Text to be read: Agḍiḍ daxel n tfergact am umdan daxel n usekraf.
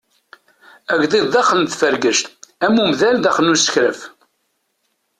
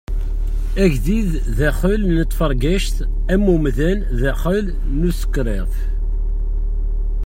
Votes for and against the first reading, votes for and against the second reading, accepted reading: 2, 0, 0, 2, first